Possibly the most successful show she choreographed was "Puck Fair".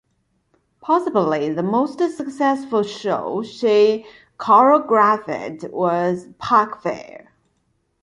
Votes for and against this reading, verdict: 1, 2, rejected